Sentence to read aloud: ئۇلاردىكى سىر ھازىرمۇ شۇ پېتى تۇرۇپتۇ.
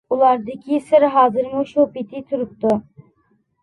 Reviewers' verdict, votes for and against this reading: accepted, 2, 0